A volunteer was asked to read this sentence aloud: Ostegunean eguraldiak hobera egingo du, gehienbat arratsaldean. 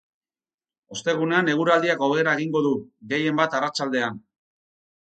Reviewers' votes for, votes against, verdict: 4, 0, accepted